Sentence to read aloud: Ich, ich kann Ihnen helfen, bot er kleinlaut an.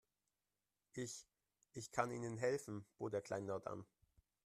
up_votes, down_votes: 1, 2